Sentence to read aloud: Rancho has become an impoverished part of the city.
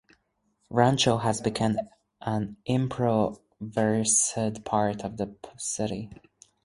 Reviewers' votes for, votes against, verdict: 2, 4, rejected